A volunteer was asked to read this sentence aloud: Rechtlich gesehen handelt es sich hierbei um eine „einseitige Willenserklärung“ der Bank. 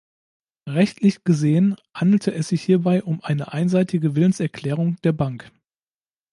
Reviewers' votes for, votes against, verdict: 1, 2, rejected